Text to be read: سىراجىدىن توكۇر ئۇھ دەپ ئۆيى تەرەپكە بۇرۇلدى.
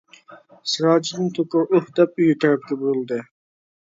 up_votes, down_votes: 1, 2